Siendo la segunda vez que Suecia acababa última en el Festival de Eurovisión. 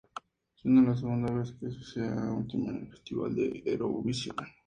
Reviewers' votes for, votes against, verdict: 2, 0, accepted